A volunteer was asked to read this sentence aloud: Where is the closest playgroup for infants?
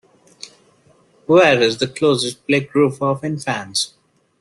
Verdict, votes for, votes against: rejected, 1, 2